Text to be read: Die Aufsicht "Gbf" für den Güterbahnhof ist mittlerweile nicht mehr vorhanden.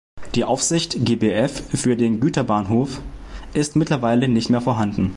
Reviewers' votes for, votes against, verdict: 2, 1, accepted